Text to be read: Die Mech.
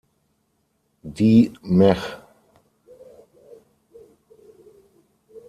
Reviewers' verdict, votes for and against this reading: rejected, 3, 6